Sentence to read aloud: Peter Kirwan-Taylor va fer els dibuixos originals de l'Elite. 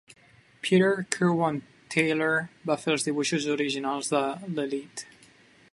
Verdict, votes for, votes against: accepted, 2, 0